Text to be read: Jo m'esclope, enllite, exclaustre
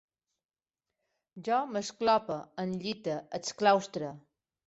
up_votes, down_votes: 2, 1